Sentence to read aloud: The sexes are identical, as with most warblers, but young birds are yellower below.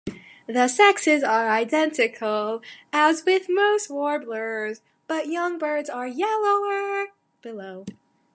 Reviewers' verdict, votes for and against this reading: rejected, 1, 2